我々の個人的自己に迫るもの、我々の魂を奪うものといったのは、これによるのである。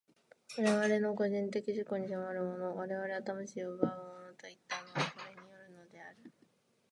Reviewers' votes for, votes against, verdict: 0, 2, rejected